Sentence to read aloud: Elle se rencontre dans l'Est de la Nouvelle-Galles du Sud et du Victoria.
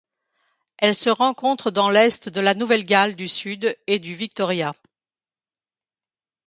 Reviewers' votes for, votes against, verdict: 2, 0, accepted